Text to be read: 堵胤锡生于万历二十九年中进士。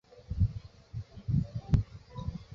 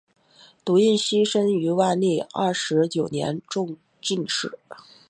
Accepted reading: second